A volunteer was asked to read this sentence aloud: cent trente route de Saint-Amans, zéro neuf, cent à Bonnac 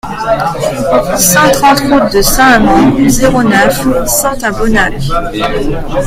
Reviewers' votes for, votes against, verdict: 1, 2, rejected